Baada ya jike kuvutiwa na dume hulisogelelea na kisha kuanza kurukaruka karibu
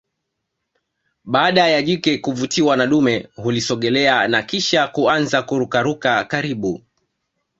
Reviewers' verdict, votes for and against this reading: rejected, 1, 2